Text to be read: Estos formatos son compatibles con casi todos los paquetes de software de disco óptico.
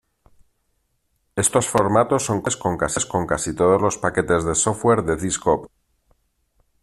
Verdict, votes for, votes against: rejected, 0, 3